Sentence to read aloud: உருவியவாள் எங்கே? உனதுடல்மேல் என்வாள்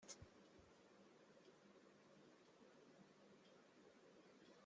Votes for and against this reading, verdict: 0, 2, rejected